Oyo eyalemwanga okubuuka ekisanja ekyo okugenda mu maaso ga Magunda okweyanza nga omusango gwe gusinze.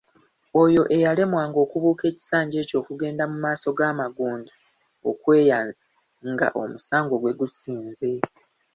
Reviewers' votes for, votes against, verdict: 2, 0, accepted